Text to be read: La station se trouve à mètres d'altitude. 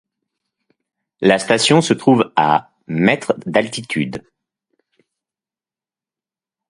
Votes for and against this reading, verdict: 2, 0, accepted